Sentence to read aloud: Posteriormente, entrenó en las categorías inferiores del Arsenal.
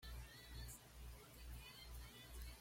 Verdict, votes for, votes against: rejected, 1, 2